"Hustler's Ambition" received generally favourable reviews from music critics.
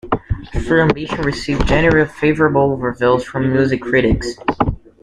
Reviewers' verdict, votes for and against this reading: rejected, 0, 2